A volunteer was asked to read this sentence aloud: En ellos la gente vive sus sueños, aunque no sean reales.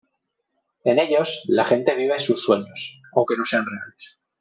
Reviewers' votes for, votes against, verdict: 1, 2, rejected